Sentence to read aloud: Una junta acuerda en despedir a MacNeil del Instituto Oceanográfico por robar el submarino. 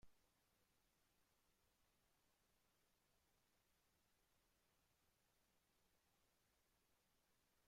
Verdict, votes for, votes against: rejected, 0, 2